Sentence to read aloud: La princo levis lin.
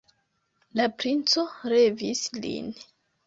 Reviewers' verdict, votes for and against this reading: rejected, 1, 2